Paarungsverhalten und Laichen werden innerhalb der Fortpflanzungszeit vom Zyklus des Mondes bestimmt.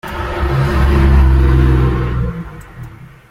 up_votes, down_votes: 0, 2